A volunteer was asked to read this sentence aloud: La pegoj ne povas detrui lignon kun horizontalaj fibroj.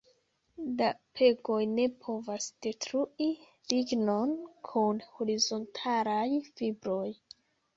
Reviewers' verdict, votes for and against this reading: rejected, 0, 2